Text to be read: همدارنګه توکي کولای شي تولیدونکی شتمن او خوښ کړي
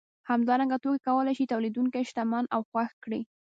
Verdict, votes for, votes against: rejected, 0, 2